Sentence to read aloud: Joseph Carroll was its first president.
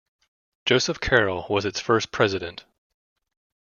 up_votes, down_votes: 2, 0